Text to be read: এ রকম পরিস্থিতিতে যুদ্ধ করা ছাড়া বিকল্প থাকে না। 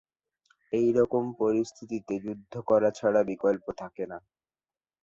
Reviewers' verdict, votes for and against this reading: accepted, 2, 0